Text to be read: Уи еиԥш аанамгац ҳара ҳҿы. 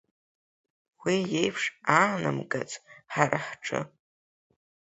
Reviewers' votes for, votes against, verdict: 5, 3, accepted